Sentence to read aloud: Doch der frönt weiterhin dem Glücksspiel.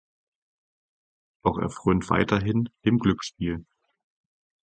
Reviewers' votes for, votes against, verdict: 2, 4, rejected